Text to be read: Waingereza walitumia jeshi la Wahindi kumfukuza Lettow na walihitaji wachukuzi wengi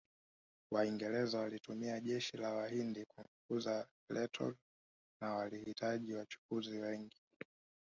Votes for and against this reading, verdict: 2, 3, rejected